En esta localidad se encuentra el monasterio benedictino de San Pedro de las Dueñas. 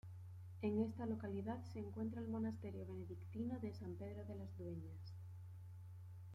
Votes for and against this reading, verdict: 2, 1, accepted